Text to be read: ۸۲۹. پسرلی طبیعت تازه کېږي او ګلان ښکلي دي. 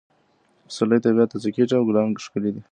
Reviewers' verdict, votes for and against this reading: rejected, 0, 2